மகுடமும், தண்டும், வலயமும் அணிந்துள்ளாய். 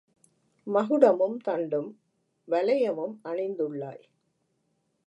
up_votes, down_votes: 2, 1